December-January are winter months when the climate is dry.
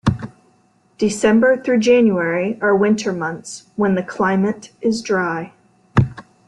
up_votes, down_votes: 0, 2